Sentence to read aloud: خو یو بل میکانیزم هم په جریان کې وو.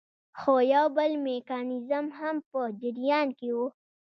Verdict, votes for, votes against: rejected, 0, 2